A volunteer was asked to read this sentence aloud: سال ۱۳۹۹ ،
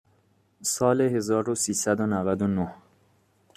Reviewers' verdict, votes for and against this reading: rejected, 0, 2